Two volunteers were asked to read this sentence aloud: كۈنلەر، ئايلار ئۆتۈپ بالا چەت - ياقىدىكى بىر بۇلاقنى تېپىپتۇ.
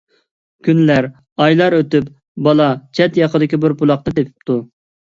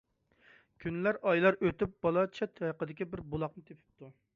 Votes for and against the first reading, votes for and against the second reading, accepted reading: 2, 0, 1, 2, first